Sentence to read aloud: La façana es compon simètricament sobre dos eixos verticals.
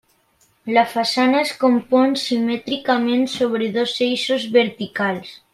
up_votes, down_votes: 3, 0